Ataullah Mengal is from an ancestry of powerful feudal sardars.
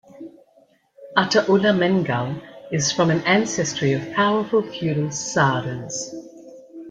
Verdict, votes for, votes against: accepted, 2, 0